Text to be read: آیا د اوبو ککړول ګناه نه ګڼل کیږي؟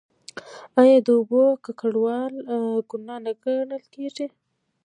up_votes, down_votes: 2, 1